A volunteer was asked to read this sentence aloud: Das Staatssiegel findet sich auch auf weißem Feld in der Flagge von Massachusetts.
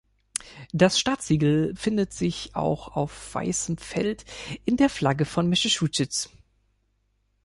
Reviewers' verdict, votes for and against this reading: rejected, 0, 2